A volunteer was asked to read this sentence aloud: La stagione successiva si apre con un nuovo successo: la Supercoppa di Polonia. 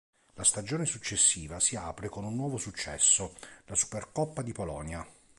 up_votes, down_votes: 2, 0